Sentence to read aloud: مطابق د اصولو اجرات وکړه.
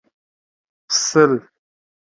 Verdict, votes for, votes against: rejected, 1, 2